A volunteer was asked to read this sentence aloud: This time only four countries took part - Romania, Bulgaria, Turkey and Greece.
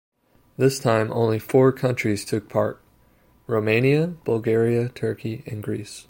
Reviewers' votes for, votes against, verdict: 2, 0, accepted